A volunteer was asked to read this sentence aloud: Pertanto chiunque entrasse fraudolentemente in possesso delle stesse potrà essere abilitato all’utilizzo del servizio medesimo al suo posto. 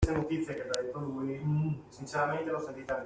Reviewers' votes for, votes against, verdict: 0, 2, rejected